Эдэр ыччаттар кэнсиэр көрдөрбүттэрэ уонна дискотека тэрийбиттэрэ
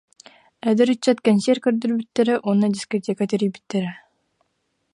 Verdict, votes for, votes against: rejected, 1, 2